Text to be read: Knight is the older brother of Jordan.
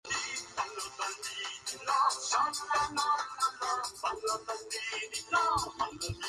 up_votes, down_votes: 0, 2